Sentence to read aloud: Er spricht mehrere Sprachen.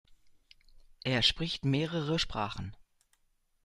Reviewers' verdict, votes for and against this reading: accepted, 2, 0